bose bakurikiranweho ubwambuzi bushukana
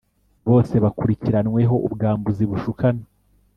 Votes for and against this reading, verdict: 3, 0, accepted